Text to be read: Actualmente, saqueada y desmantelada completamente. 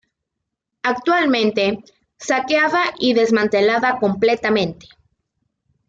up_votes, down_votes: 1, 2